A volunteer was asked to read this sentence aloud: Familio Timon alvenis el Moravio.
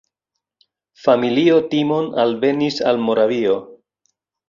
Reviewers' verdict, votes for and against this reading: rejected, 2, 3